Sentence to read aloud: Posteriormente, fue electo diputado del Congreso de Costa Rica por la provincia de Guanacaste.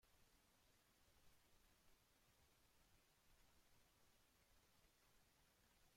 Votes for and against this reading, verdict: 0, 2, rejected